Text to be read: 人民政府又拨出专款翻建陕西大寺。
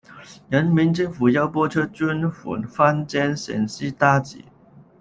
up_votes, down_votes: 0, 2